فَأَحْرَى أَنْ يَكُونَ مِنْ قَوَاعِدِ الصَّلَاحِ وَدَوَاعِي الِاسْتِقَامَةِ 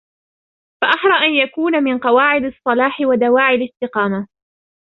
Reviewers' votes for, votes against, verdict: 2, 0, accepted